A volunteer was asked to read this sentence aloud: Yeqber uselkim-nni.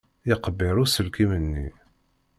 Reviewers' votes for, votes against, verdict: 1, 2, rejected